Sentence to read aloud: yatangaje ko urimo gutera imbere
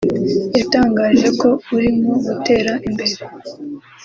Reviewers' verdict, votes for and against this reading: accepted, 2, 0